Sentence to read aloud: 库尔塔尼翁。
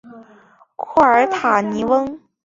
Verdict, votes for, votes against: accepted, 3, 1